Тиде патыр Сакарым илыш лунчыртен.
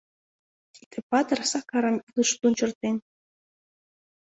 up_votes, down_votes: 2, 1